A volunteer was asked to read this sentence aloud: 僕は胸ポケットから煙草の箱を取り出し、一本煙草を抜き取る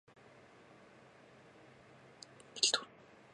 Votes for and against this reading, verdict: 1, 5, rejected